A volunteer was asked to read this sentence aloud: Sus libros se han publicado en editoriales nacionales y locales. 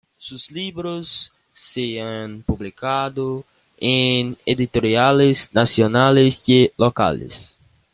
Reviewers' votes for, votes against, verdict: 2, 1, accepted